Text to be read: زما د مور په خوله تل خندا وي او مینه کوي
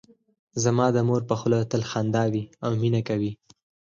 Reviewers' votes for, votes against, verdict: 4, 0, accepted